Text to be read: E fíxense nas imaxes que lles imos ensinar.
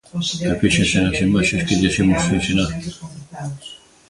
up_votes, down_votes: 1, 2